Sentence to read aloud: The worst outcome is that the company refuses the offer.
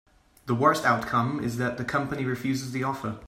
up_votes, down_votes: 3, 0